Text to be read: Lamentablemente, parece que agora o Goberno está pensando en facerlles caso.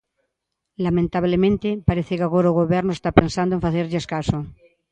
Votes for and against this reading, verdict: 2, 0, accepted